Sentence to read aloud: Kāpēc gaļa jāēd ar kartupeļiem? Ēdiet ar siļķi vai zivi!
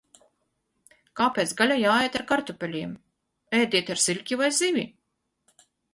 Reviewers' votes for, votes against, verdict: 4, 2, accepted